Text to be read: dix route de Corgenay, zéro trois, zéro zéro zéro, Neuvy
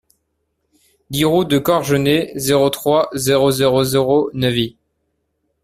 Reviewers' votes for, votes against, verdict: 2, 0, accepted